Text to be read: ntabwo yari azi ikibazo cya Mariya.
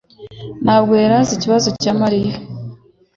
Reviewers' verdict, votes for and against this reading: accepted, 2, 0